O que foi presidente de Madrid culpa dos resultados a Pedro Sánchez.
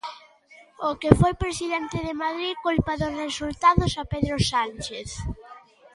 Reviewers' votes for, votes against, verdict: 3, 2, accepted